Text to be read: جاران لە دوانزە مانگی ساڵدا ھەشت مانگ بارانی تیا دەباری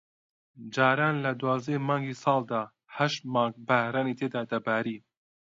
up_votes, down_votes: 1, 2